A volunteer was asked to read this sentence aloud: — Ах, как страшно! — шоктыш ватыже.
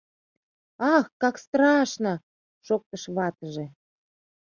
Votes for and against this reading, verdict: 2, 0, accepted